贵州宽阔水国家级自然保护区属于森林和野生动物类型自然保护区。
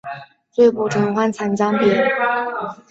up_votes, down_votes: 0, 2